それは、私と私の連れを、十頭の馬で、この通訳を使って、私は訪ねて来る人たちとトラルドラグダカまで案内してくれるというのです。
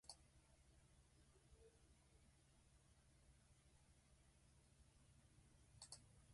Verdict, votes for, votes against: rejected, 2, 12